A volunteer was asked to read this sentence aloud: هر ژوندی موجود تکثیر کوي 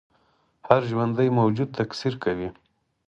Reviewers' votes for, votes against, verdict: 4, 0, accepted